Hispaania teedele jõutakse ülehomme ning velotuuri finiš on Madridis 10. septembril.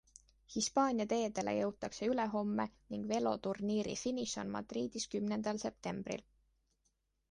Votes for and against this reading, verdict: 0, 2, rejected